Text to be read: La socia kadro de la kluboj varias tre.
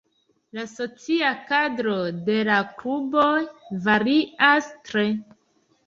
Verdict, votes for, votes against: accepted, 2, 1